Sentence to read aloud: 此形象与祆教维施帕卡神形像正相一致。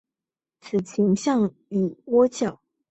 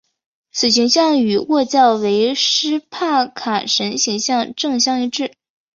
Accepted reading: second